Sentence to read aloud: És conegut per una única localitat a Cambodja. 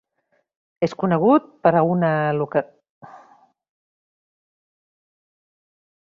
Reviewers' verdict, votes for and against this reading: rejected, 0, 2